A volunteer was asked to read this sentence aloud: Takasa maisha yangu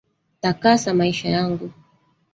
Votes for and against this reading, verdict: 1, 2, rejected